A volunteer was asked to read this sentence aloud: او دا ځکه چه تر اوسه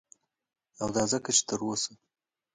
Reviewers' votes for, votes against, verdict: 2, 0, accepted